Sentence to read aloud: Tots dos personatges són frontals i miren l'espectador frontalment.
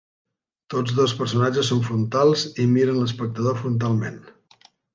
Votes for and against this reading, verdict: 3, 0, accepted